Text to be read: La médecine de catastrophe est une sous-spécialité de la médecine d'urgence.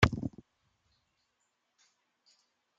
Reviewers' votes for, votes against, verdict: 0, 2, rejected